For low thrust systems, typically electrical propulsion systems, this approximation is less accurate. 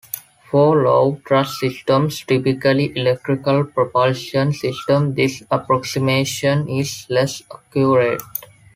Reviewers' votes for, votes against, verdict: 2, 0, accepted